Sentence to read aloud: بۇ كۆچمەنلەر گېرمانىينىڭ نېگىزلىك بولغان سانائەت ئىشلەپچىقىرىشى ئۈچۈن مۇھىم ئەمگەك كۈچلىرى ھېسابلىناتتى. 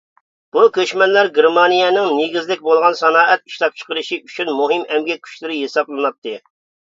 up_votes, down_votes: 2, 0